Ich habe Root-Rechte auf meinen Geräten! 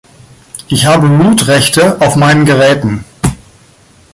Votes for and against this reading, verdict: 1, 2, rejected